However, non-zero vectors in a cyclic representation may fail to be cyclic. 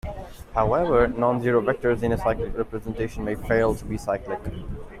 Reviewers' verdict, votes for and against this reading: accepted, 2, 0